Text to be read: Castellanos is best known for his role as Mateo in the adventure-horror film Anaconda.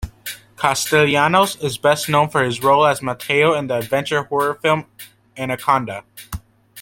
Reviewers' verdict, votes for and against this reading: rejected, 0, 2